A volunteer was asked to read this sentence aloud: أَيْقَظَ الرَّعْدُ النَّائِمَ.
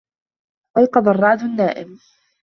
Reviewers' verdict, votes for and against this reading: rejected, 1, 2